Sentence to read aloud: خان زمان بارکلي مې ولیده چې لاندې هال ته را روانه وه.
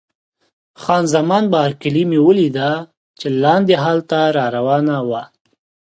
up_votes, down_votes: 2, 0